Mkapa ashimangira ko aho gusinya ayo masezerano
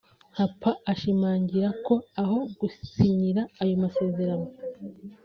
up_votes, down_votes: 0, 2